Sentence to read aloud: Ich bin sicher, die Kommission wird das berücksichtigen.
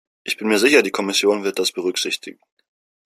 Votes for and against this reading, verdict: 1, 2, rejected